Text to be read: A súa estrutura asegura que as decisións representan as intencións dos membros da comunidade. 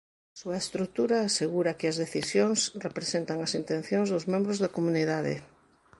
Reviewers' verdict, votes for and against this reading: accepted, 2, 0